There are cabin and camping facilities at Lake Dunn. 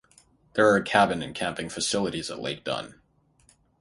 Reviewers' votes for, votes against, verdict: 3, 0, accepted